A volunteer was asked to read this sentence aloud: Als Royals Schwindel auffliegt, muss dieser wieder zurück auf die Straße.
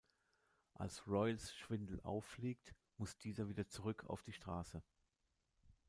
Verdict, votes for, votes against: accepted, 2, 0